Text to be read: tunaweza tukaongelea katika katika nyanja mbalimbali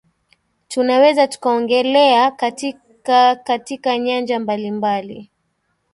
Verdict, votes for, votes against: accepted, 3, 0